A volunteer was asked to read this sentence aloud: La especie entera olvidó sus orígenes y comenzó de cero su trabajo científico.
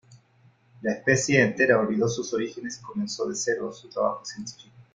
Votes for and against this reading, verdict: 2, 0, accepted